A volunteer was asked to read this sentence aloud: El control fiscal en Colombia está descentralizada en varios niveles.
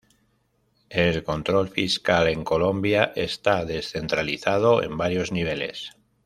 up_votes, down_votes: 1, 2